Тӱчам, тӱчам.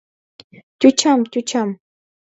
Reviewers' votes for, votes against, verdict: 2, 0, accepted